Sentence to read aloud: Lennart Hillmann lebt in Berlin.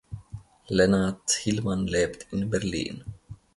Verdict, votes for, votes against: accepted, 2, 0